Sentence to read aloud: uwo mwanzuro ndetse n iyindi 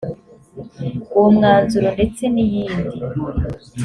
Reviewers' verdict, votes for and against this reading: accepted, 2, 0